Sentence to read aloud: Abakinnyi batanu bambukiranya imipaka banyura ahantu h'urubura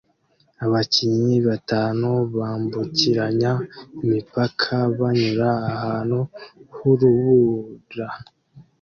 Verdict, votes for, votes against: accepted, 2, 0